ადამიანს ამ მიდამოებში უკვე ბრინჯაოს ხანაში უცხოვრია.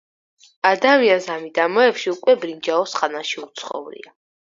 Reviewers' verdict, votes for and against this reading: accepted, 4, 0